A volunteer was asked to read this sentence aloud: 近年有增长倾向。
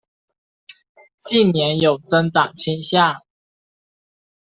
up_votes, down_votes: 2, 0